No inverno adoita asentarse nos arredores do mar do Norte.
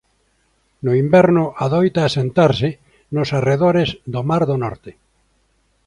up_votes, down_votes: 2, 0